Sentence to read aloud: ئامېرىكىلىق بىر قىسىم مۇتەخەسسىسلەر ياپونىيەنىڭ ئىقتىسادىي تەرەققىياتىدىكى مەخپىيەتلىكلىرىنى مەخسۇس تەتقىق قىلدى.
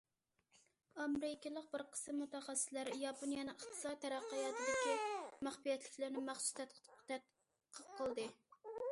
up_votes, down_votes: 0, 2